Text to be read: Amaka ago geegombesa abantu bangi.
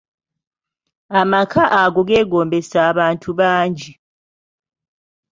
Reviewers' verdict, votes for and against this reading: accepted, 2, 0